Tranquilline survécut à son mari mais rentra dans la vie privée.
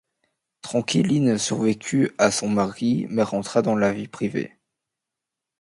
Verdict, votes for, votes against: accepted, 2, 0